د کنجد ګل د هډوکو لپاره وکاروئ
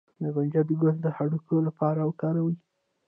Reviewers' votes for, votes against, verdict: 2, 0, accepted